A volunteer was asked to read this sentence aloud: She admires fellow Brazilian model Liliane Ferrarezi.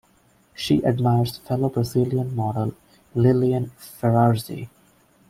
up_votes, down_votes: 1, 2